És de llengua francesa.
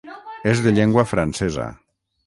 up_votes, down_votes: 6, 3